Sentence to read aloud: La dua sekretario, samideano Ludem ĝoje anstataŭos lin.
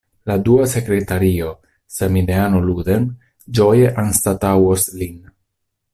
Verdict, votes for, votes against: accepted, 2, 0